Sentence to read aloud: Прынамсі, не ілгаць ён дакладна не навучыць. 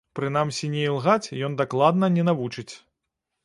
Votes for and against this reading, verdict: 2, 0, accepted